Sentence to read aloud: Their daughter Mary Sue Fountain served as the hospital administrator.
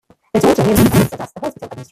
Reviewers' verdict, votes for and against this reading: rejected, 0, 2